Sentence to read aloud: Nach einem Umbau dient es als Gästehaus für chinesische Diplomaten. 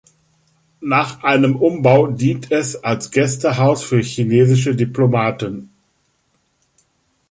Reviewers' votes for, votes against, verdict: 3, 0, accepted